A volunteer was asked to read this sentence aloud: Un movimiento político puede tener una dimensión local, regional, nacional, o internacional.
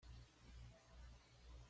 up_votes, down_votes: 1, 2